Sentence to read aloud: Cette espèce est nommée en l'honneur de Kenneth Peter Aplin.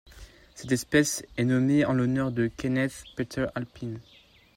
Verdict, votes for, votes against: rejected, 0, 2